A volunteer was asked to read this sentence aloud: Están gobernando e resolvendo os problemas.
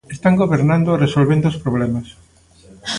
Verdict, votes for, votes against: accepted, 2, 0